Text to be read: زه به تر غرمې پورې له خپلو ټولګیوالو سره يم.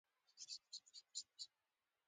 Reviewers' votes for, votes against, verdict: 0, 2, rejected